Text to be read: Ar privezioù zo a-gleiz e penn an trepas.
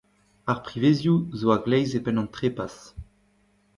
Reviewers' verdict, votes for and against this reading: rejected, 1, 2